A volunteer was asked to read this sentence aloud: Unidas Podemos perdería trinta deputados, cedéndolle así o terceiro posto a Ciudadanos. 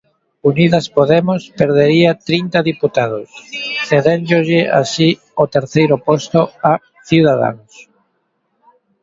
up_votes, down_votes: 2, 3